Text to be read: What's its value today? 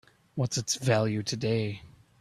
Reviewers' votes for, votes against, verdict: 2, 0, accepted